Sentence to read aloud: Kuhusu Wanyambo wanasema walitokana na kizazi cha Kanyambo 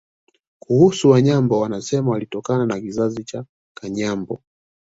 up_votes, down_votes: 2, 1